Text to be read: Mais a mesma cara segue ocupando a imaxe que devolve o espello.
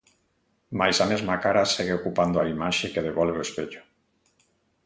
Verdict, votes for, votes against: accepted, 2, 0